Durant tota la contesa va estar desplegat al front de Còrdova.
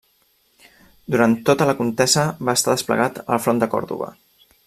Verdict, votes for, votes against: rejected, 1, 2